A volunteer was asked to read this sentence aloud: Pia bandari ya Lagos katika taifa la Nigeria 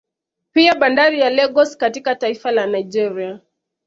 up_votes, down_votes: 2, 0